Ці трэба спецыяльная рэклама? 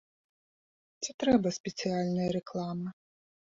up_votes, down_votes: 2, 0